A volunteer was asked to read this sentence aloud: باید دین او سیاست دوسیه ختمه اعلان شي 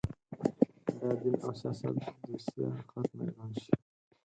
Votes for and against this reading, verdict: 0, 4, rejected